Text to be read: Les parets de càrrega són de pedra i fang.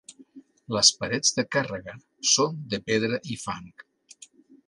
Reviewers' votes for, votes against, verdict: 2, 0, accepted